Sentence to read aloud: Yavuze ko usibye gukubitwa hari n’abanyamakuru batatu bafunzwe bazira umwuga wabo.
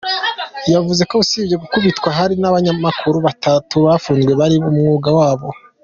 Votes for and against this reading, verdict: 1, 2, rejected